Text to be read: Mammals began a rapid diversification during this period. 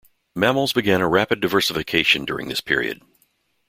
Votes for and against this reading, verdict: 2, 0, accepted